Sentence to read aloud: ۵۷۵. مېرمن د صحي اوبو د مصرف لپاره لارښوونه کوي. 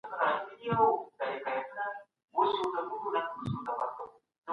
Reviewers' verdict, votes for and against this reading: rejected, 0, 2